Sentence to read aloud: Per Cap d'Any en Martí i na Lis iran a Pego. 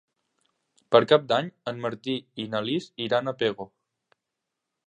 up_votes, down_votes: 3, 0